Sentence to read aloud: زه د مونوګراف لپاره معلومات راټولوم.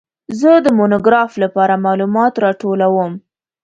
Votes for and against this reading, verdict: 2, 0, accepted